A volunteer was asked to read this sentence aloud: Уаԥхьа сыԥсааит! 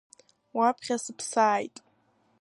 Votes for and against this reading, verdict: 2, 1, accepted